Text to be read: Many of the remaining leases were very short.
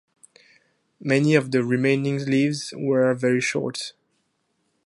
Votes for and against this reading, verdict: 4, 2, accepted